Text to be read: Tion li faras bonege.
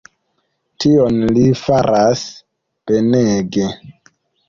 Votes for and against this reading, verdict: 1, 2, rejected